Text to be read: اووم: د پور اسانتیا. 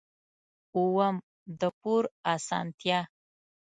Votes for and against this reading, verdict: 2, 0, accepted